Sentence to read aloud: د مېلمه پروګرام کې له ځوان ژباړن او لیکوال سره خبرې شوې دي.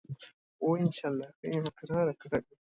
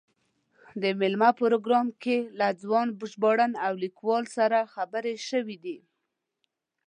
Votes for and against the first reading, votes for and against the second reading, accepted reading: 1, 2, 2, 0, second